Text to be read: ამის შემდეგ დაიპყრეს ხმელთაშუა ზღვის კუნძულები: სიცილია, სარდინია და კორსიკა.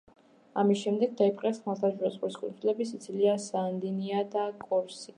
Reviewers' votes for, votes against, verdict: 0, 2, rejected